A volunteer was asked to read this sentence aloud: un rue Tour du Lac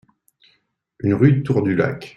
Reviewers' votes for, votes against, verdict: 1, 3, rejected